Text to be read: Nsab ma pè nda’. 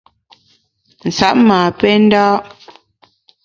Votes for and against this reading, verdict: 2, 0, accepted